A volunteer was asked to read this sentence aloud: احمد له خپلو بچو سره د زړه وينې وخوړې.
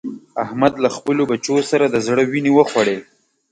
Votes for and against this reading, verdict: 2, 0, accepted